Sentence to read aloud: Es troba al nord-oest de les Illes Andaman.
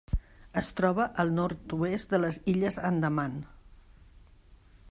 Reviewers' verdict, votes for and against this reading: accepted, 3, 0